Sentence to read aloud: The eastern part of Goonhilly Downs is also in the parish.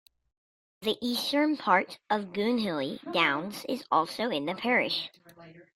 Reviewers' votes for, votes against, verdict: 2, 0, accepted